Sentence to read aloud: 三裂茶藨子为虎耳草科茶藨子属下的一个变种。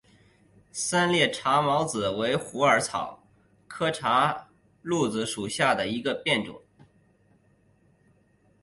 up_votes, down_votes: 5, 0